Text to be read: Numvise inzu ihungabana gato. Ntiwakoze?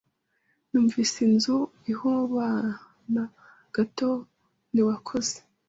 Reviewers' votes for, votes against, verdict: 1, 2, rejected